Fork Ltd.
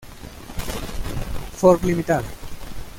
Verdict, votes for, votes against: rejected, 0, 2